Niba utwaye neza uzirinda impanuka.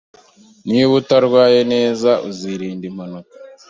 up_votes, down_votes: 1, 2